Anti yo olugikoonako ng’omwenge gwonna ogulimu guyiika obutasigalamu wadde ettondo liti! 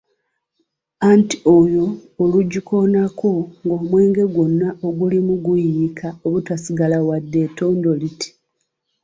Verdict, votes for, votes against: rejected, 0, 2